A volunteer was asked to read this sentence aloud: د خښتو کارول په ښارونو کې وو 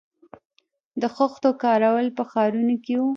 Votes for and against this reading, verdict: 1, 2, rejected